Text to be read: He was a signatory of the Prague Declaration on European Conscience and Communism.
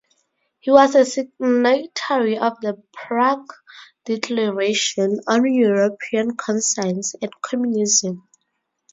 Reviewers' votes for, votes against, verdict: 0, 2, rejected